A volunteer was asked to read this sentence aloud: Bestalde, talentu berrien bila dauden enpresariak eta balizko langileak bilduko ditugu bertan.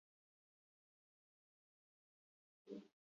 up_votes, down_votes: 0, 4